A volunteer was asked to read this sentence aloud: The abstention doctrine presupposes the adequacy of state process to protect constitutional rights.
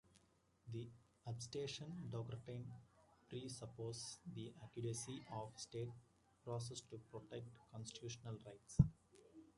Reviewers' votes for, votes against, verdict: 1, 2, rejected